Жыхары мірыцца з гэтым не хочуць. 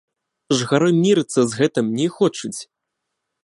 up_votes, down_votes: 1, 2